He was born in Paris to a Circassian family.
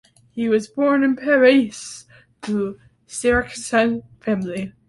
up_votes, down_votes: 0, 2